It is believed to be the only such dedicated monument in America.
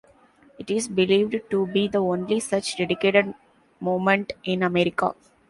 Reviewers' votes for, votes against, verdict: 0, 2, rejected